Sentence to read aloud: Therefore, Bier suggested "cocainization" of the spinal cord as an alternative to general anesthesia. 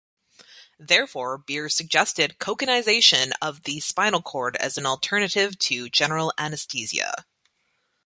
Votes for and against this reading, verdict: 2, 0, accepted